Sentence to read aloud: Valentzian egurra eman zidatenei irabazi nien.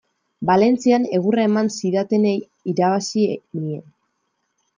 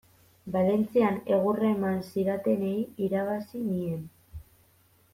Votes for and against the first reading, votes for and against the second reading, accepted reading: 2, 1, 0, 2, first